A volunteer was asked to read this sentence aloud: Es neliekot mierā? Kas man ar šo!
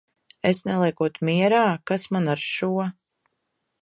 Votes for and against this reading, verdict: 2, 0, accepted